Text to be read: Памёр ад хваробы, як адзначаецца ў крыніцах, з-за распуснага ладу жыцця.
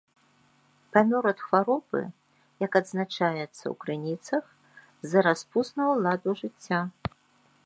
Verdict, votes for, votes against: accepted, 2, 0